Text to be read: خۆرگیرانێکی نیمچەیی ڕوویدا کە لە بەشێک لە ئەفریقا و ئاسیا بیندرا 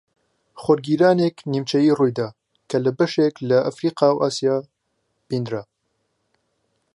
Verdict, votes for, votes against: accepted, 2, 1